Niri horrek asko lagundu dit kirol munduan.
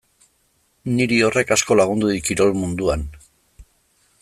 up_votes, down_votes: 2, 0